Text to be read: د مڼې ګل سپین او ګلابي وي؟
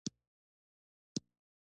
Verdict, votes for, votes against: rejected, 1, 2